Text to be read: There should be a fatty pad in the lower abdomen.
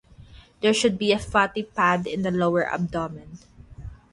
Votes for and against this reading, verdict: 0, 3, rejected